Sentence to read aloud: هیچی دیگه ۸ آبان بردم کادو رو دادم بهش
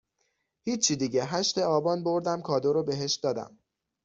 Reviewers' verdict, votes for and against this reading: rejected, 0, 2